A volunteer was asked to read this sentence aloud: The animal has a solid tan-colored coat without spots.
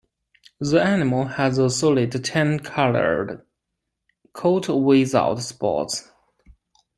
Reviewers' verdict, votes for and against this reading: accepted, 2, 1